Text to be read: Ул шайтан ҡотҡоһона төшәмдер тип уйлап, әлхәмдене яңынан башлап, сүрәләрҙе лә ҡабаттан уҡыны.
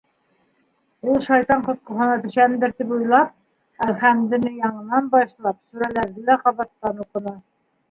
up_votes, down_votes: 2, 1